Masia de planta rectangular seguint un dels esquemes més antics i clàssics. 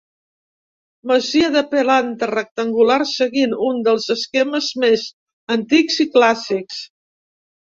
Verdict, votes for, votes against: rejected, 1, 2